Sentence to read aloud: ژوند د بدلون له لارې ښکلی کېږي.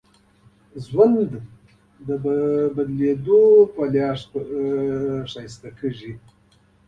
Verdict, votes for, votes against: accepted, 2, 0